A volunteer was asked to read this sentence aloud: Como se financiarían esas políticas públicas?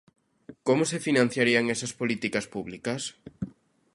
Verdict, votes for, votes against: accepted, 2, 0